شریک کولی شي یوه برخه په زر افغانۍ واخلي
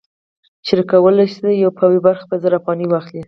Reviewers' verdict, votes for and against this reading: accepted, 4, 0